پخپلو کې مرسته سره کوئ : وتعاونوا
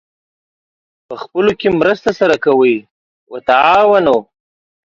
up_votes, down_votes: 2, 1